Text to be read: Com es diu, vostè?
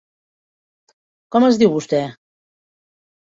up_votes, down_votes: 3, 0